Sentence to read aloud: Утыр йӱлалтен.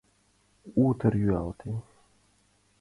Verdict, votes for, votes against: accepted, 2, 1